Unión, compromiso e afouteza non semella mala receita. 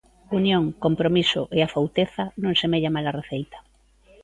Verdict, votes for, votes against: accepted, 2, 0